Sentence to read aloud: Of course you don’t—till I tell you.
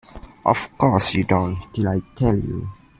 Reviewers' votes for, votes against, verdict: 0, 2, rejected